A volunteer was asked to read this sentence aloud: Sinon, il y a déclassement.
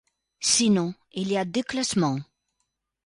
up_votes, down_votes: 2, 0